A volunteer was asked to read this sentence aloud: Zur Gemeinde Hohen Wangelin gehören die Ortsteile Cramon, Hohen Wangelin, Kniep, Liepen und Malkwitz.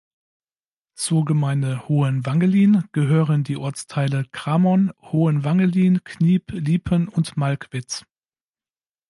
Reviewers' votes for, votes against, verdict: 2, 0, accepted